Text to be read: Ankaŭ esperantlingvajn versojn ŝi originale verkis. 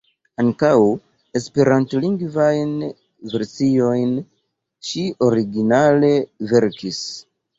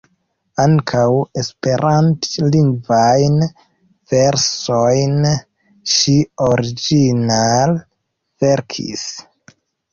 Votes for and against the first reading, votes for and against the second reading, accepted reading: 2, 0, 1, 2, first